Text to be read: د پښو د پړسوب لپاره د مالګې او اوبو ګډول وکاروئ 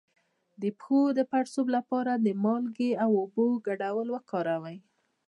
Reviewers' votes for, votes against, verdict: 0, 2, rejected